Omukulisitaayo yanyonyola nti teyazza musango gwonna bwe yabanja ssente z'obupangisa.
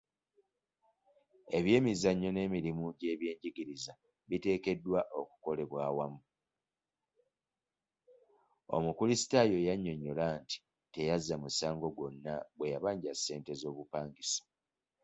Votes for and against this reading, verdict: 0, 3, rejected